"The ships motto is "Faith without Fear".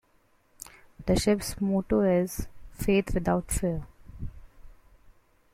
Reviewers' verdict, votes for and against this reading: rejected, 1, 2